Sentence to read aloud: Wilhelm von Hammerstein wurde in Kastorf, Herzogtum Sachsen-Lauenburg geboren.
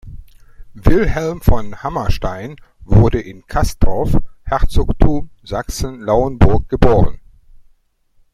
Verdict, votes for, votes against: rejected, 1, 2